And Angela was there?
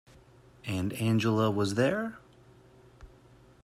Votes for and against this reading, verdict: 2, 0, accepted